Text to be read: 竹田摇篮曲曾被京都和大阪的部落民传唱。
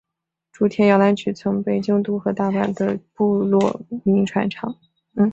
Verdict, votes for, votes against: rejected, 0, 2